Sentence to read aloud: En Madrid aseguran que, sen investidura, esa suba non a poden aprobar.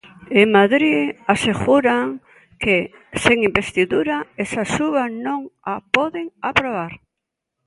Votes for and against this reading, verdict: 2, 0, accepted